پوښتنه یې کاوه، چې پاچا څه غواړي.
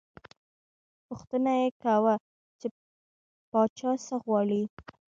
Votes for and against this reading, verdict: 1, 2, rejected